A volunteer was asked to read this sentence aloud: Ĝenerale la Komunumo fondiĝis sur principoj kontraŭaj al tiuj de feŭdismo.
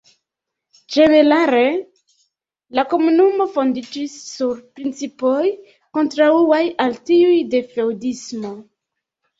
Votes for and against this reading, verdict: 2, 0, accepted